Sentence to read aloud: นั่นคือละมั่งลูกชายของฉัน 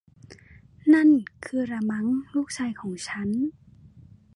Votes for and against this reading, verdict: 0, 2, rejected